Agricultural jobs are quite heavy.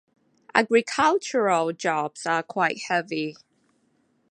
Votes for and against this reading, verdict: 2, 0, accepted